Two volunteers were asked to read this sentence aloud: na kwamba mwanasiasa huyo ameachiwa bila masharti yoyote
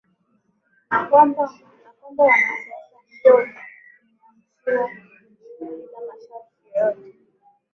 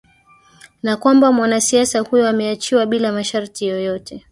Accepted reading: second